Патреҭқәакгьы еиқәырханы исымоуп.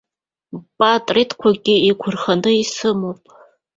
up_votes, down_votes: 0, 2